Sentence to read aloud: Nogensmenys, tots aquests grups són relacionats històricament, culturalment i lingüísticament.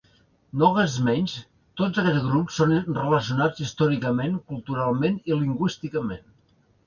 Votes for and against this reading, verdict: 1, 2, rejected